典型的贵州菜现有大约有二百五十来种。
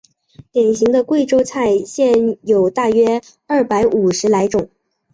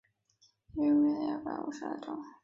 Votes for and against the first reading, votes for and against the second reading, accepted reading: 4, 0, 0, 2, first